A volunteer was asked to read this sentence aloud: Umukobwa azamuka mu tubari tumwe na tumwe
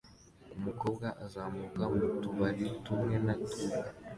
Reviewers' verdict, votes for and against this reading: accepted, 2, 0